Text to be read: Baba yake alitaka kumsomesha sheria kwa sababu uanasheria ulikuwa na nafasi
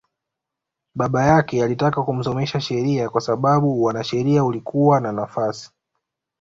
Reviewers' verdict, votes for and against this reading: accepted, 3, 0